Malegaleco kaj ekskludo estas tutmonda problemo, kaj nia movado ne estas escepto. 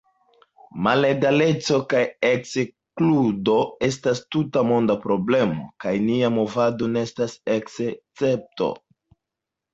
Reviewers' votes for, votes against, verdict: 1, 2, rejected